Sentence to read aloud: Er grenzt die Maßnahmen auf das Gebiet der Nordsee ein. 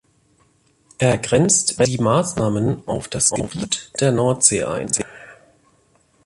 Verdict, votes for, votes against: rejected, 0, 2